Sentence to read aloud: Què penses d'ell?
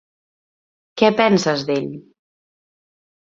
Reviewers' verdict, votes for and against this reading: accepted, 3, 0